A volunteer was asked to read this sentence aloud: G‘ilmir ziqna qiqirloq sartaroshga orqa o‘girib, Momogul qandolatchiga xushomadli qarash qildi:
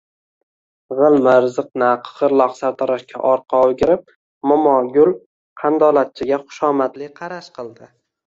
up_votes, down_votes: 2, 0